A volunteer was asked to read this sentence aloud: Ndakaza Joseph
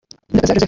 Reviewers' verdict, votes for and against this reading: rejected, 0, 2